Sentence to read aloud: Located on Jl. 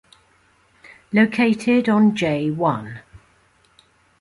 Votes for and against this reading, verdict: 1, 2, rejected